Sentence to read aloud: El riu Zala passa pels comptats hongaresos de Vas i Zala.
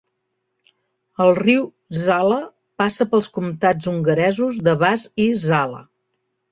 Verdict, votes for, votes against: accepted, 2, 0